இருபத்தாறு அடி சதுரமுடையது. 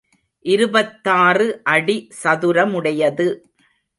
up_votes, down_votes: 2, 0